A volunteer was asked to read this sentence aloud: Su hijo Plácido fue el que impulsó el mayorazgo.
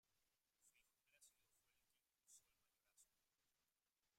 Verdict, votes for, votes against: rejected, 0, 2